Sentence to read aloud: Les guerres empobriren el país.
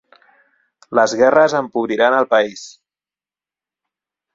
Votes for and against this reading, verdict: 1, 2, rejected